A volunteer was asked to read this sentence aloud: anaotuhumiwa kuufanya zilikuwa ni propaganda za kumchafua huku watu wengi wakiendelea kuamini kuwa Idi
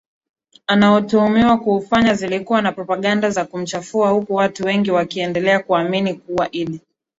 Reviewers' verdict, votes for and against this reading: rejected, 1, 2